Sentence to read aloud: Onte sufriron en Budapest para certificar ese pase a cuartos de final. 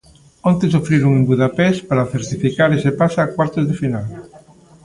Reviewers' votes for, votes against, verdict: 2, 0, accepted